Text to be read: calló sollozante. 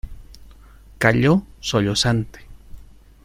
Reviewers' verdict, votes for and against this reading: accepted, 2, 0